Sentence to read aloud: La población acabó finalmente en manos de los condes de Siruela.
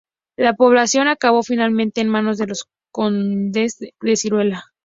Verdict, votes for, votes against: accepted, 2, 0